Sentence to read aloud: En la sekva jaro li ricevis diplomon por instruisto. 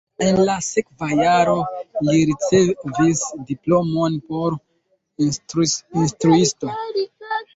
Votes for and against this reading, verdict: 0, 2, rejected